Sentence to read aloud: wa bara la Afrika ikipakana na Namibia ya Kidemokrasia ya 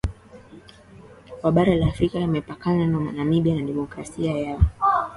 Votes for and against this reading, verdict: 3, 4, rejected